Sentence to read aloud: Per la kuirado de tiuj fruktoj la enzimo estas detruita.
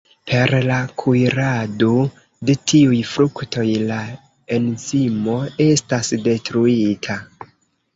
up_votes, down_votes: 1, 2